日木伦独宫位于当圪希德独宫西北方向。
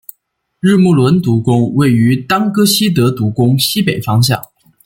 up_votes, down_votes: 2, 1